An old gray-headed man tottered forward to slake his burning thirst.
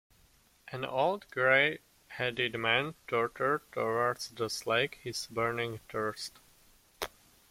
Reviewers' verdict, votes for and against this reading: rejected, 1, 2